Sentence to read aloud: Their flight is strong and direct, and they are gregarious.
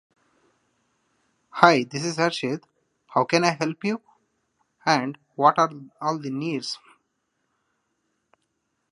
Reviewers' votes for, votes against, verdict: 0, 2, rejected